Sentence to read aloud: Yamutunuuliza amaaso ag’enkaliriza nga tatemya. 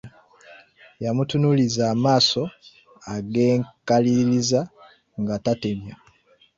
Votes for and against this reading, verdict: 2, 1, accepted